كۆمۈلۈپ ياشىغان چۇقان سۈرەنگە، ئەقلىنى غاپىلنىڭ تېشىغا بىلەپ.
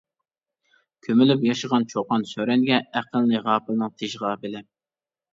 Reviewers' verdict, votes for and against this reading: rejected, 1, 2